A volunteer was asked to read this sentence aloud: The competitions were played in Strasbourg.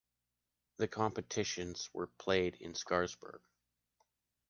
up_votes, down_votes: 1, 2